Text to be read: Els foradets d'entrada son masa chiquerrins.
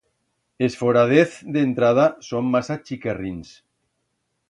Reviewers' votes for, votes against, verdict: 1, 2, rejected